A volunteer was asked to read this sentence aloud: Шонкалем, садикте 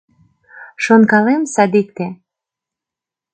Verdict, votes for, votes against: accepted, 2, 0